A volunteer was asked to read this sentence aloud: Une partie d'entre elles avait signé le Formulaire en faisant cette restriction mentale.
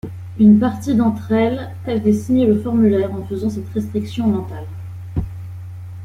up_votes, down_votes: 2, 0